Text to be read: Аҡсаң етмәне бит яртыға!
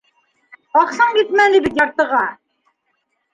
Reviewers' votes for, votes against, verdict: 3, 1, accepted